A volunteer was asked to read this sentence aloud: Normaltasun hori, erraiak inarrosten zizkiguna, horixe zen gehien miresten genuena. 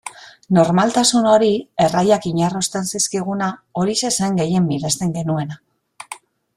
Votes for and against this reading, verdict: 2, 0, accepted